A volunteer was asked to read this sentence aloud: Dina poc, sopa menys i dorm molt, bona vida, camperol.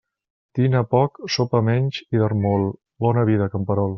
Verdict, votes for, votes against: accepted, 2, 0